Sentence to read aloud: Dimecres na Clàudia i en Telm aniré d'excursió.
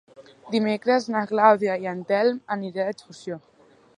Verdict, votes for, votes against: rejected, 0, 2